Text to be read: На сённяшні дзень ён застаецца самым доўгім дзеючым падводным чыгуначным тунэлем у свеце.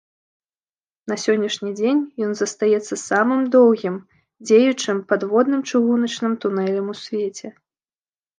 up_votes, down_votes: 2, 0